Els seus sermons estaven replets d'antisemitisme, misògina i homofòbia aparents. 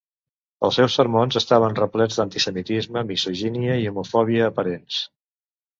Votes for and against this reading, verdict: 0, 2, rejected